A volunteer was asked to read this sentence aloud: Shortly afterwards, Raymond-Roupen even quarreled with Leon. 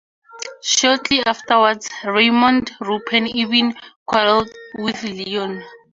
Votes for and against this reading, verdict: 4, 0, accepted